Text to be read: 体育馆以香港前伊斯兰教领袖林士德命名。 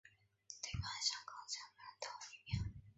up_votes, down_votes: 0, 2